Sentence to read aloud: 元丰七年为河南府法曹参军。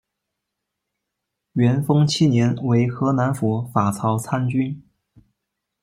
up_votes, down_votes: 0, 2